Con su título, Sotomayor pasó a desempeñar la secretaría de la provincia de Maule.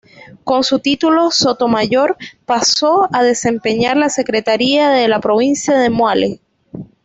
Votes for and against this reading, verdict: 1, 2, rejected